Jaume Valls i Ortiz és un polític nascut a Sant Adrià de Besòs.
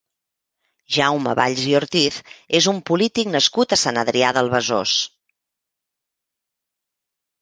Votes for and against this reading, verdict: 1, 2, rejected